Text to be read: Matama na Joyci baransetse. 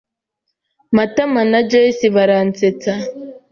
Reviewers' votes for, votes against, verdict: 1, 2, rejected